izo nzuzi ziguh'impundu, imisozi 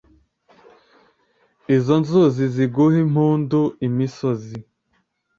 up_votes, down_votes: 2, 0